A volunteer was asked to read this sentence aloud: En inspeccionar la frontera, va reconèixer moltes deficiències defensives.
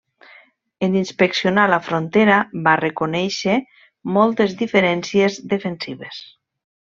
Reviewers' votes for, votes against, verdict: 0, 2, rejected